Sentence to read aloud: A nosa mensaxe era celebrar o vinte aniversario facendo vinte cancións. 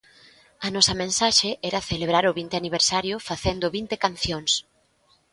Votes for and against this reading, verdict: 2, 0, accepted